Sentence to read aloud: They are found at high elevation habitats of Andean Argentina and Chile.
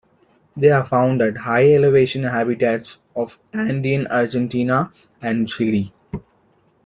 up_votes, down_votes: 2, 0